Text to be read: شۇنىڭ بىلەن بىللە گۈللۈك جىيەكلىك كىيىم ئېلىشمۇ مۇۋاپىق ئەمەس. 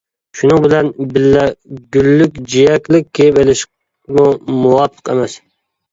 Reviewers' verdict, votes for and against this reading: rejected, 0, 2